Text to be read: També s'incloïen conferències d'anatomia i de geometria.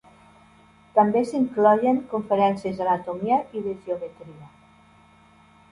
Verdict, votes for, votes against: rejected, 1, 2